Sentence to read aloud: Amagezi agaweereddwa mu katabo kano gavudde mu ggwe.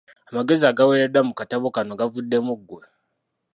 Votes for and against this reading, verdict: 1, 2, rejected